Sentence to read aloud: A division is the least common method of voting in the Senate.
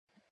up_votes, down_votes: 0, 2